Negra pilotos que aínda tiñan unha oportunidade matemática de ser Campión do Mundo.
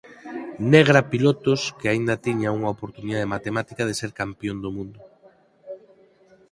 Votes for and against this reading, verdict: 4, 0, accepted